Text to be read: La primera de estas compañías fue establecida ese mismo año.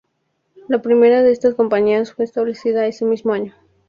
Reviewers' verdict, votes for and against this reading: rejected, 0, 2